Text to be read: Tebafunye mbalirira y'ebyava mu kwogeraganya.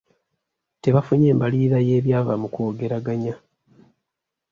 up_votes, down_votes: 2, 0